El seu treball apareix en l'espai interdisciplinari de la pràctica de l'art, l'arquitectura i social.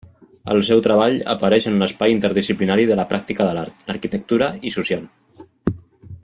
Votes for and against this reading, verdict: 2, 1, accepted